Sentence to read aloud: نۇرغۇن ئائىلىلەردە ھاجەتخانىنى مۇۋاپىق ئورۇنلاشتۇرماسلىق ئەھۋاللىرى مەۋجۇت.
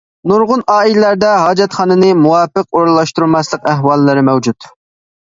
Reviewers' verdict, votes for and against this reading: accepted, 2, 0